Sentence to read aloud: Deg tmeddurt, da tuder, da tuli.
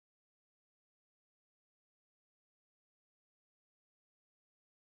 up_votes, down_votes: 0, 2